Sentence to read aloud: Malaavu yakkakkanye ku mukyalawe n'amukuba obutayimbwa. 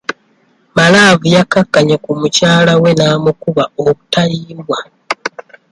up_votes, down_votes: 2, 0